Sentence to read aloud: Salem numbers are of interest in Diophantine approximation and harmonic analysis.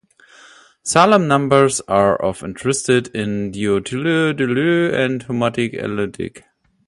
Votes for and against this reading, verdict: 0, 2, rejected